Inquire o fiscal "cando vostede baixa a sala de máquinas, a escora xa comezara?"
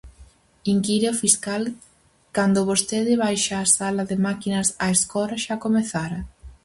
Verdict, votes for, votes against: accepted, 4, 0